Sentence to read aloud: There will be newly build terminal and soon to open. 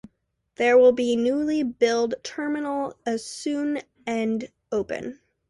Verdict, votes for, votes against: rejected, 0, 2